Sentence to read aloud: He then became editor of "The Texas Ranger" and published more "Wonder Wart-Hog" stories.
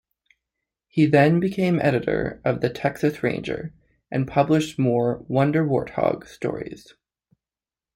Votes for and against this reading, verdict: 2, 0, accepted